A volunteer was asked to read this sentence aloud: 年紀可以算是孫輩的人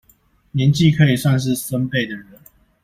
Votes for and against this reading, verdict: 2, 0, accepted